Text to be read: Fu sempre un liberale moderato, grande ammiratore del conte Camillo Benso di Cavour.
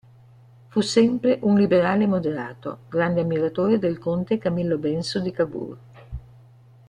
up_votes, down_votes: 1, 2